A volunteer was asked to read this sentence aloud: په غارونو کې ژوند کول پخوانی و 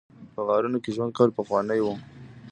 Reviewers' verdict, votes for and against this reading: rejected, 0, 2